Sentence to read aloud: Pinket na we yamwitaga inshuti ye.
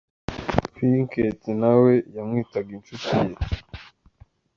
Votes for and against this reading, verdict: 2, 0, accepted